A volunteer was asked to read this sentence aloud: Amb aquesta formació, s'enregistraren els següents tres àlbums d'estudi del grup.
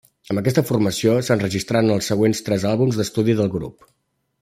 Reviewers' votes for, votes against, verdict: 1, 2, rejected